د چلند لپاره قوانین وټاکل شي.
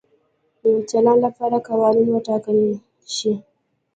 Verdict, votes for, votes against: accepted, 2, 1